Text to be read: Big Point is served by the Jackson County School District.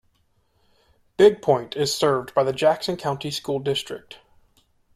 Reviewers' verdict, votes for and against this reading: accepted, 2, 0